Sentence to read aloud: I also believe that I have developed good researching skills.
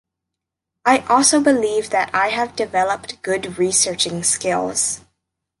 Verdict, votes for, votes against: rejected, 1, 2